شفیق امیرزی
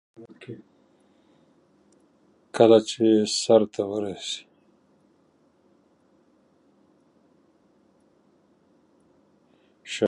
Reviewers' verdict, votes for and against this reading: rejected, 0, 2